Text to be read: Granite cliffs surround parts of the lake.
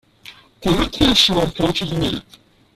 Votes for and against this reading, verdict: 0, 2, rejected